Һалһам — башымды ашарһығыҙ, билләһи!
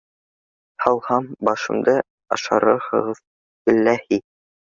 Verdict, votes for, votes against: rejected, 1, 2